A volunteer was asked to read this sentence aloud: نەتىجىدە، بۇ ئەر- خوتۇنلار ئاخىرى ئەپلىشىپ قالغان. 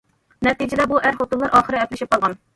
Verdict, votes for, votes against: accepted, 2, 0